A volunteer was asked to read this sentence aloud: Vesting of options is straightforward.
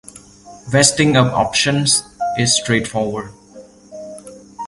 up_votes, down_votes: 2, 0